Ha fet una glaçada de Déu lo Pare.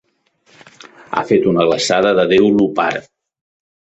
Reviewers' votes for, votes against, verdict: 0, 2, rejected